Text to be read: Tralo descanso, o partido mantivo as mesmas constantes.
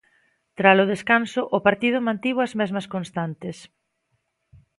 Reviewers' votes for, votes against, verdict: 2, 0, accepted